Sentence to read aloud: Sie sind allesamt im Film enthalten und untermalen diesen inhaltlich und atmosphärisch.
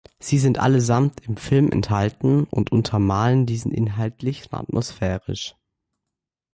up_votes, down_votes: 2, 1